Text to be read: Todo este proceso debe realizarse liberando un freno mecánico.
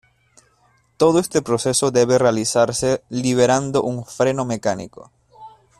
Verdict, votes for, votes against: accepted, 2, 0